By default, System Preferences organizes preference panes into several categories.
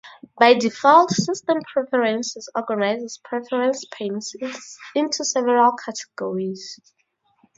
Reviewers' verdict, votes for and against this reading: rejected, 0, 4